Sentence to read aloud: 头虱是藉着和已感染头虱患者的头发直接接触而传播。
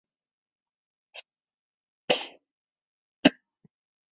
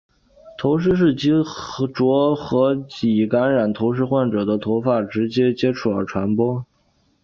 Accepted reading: second